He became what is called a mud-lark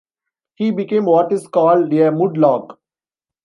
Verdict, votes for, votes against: rejected, 1, 2